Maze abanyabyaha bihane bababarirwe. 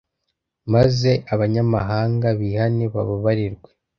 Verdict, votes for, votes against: rejected, 0, 2